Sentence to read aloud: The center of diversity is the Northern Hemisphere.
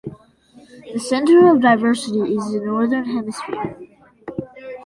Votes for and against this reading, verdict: 2, 1, accepted